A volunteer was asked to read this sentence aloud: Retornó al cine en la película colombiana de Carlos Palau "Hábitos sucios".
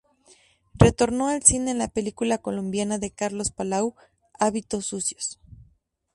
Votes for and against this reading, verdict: 2, 0, accepted